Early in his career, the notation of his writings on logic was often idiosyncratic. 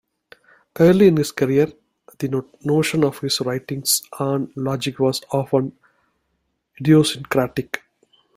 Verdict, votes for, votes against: rejected, 0, 2